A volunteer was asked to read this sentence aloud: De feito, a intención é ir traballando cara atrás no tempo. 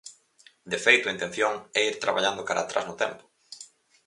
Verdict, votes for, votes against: accepted, 4, 0